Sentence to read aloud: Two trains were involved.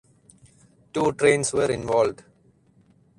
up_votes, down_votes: 2, 4